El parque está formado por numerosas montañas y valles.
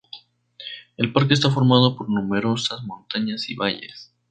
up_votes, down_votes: 0, 2